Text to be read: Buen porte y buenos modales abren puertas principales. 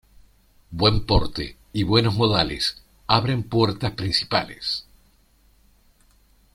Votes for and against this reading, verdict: 2, 0, accepted